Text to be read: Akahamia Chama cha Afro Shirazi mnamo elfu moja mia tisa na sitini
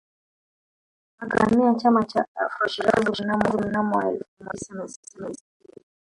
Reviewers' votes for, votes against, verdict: 2, 1, accepted